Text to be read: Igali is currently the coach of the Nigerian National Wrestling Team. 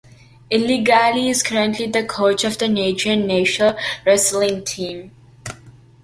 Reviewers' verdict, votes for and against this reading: rejected, 0, 2